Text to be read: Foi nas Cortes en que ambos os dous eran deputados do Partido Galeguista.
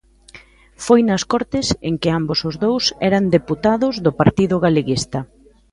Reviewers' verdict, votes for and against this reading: accepted, 2, 0